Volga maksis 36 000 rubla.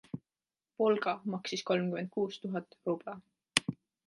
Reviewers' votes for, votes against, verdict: 0, 2, rejected